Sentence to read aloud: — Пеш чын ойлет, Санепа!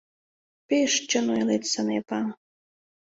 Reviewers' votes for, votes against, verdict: 2, 0, accepted